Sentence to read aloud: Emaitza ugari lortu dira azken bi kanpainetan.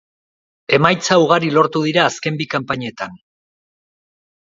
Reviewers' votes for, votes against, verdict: 2, 0, accepted